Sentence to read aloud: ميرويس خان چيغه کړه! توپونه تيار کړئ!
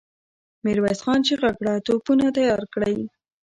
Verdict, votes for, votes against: rejected, 1, 2